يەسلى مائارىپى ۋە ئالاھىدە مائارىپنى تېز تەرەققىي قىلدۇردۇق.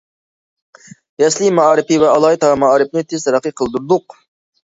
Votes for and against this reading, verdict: 2, 0, accepted